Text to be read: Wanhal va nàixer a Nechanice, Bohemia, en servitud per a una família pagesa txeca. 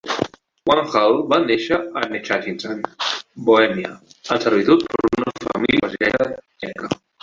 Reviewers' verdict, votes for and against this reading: rejected, 0, 2